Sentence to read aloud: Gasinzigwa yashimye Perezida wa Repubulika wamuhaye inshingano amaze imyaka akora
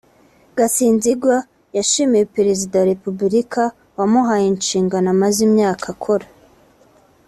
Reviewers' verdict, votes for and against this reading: accepted, 2, 0